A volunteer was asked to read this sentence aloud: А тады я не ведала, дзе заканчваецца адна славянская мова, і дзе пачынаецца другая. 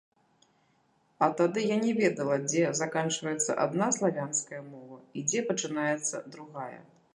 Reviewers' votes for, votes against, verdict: 3, 0, accepted